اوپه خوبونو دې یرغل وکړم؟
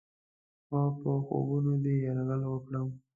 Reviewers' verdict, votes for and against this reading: rejected, 1, 2